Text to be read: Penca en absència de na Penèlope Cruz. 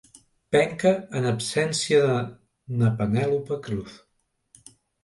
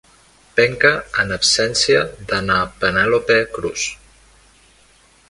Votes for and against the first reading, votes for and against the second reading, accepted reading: 1, 2, 2, 1, second